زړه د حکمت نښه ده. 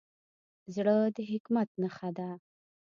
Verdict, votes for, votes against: accepted, 2, 0